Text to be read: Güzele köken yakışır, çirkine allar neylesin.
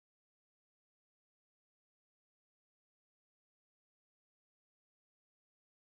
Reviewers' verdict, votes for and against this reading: rejected, 0, 2